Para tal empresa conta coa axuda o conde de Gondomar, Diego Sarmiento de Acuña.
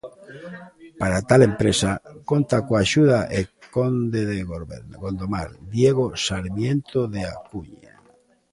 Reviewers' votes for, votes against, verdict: 0, 2, rejected